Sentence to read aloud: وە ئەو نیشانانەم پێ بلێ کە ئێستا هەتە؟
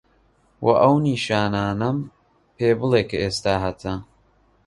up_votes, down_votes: 3, 1